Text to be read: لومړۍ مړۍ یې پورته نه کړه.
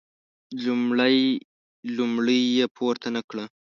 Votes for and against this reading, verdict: 0, 2, rejected